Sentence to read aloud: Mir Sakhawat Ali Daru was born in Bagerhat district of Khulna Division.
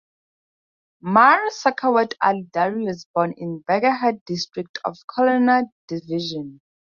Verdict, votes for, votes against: accepted, 4, 2